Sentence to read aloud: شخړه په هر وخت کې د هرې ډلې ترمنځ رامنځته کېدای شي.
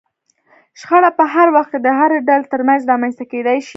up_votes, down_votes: 0, 2